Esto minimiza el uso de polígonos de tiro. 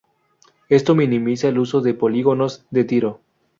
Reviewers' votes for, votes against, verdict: 0, 2, rejected